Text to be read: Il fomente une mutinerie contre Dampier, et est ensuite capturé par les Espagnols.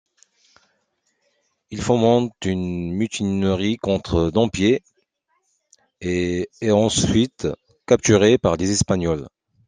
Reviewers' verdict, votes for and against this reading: accepted, 2, 0